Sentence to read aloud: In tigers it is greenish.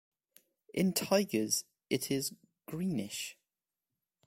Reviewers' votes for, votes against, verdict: 2, 0, accepted